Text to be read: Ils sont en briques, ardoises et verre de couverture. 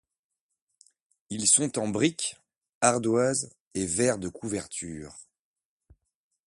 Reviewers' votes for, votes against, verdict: 3, 0, accepted